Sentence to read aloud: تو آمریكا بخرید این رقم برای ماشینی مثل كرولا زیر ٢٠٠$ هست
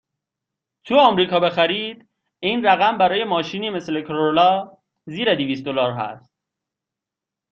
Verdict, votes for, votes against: rejected, 0, 2